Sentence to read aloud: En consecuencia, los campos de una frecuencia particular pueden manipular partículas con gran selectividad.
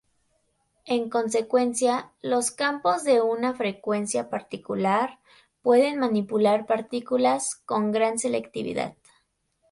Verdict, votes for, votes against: accepted, 2, 0